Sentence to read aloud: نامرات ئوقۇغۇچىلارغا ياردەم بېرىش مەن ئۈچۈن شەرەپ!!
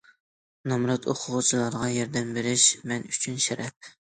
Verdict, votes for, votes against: accepted, 2, 0